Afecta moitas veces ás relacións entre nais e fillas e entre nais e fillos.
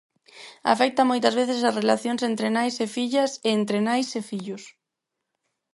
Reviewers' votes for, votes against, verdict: 4, 2, accepted